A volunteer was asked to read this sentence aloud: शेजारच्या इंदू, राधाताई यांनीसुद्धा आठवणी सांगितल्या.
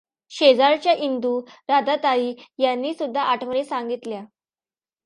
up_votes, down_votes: 2, 0